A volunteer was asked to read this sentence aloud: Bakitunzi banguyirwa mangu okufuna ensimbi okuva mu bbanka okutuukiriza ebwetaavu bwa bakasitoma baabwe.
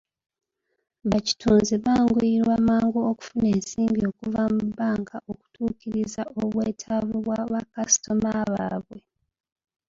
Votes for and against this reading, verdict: 2, 0, accepted